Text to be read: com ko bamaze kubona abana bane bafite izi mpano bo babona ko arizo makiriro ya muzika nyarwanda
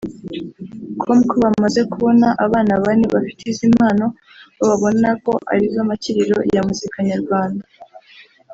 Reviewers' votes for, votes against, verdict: 0, 2, rejected